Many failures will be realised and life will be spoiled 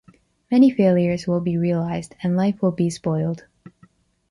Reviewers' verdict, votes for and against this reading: accepted, 2, 0